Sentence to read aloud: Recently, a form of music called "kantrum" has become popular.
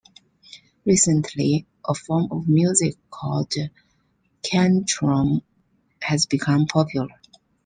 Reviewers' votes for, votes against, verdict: 2, 0, accepted